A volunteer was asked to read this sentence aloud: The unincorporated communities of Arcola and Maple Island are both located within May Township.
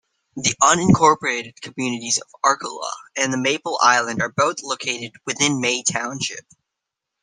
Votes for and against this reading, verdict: 1, 2, rejected